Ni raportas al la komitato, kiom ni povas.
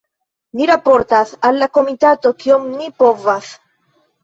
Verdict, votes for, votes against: accepted, 2, 0